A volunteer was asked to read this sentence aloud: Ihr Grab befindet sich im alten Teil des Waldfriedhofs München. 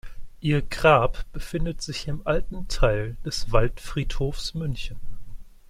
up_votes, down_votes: 2, 0